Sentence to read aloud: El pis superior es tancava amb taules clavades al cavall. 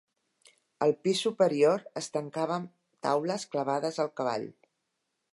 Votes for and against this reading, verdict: 1, 2, rejected